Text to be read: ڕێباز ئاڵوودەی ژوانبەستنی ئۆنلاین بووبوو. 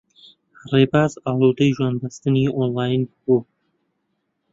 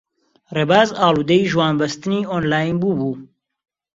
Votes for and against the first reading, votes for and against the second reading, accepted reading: 0, 2, 2, 0, second